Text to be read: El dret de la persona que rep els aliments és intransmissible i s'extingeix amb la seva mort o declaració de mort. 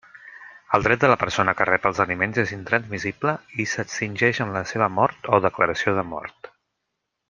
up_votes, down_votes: 2, 0